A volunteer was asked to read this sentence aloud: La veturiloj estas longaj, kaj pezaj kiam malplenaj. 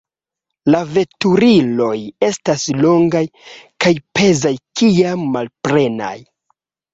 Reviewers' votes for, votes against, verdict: 1, 2, rejected